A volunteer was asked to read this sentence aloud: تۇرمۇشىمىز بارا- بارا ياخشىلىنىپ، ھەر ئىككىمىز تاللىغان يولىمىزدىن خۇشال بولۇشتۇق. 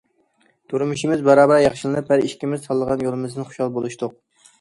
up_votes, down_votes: 2, 0